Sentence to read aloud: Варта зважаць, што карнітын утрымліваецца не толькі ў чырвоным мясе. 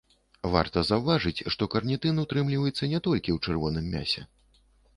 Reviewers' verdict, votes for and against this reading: rejected, 0, 2